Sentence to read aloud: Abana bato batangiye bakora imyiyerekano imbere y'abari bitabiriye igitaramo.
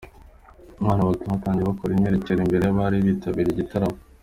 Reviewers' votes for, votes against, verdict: 3, 2, accepted